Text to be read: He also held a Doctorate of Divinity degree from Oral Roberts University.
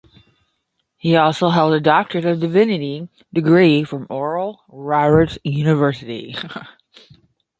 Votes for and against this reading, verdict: 0, 10, rejected